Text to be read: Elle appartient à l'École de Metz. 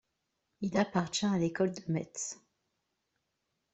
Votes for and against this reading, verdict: 0, 2, rejected